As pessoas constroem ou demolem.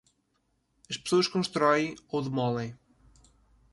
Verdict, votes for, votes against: rejected, 1, 2